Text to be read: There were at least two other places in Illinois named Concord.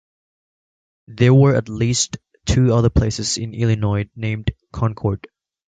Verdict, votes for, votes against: accepted, 2, 0